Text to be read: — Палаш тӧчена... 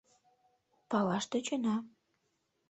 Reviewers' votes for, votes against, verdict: 2, 0, accepted